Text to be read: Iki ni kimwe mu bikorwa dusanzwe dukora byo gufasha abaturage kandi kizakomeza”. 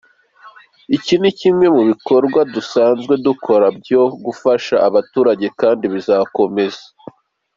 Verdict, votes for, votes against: rejected, 1, 2